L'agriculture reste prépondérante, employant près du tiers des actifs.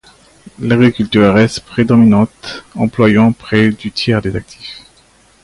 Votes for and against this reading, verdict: 0, 2, rejected